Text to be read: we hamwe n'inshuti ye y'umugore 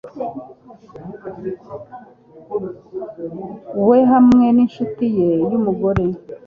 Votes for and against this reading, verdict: 2, 0, accepted